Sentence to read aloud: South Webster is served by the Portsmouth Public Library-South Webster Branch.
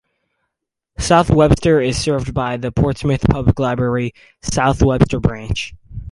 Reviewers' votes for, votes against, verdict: 0, 2, rejected